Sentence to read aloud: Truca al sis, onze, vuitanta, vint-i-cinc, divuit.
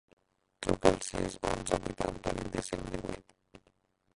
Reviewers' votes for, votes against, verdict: 0, 2, rejected